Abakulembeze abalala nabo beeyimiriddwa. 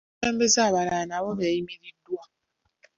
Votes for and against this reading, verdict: 2, 0, accepted